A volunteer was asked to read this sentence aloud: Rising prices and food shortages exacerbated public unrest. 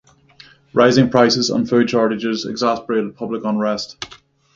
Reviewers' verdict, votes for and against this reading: rejected, 3, 6